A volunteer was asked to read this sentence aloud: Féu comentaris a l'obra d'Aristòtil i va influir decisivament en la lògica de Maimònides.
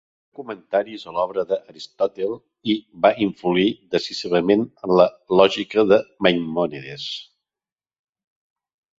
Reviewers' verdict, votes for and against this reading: rejected, 0, 2